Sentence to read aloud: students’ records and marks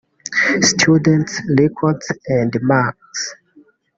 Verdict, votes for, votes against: rejected, 1, 2